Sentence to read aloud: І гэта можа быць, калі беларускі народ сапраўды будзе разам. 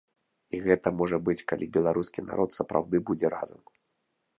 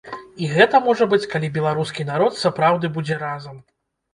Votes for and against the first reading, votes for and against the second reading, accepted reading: 2, 0, 0, 2, first